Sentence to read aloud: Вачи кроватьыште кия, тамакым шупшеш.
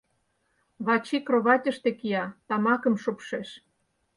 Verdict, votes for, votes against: accepted, 4, 0